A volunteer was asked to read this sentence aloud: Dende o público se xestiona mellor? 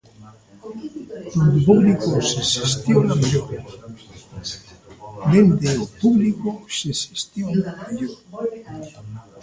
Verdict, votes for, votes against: rejected, 0, 2